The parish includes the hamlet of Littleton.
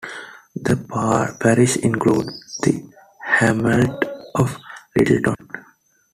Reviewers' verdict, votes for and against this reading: rejected, 1, 2